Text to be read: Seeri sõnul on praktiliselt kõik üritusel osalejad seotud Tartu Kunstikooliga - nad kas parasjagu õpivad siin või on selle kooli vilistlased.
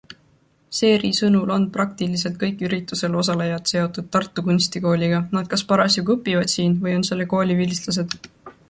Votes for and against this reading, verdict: 2, 0, accepted